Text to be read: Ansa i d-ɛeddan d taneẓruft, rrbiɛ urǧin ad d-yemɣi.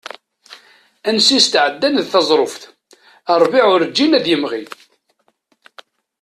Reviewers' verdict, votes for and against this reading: rejected, 1, 2